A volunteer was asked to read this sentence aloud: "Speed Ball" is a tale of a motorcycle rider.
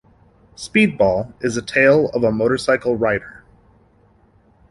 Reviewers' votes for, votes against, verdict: 2, 0, accepted